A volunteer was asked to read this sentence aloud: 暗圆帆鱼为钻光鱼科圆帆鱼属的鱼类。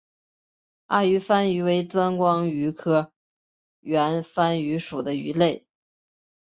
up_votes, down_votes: 2, 0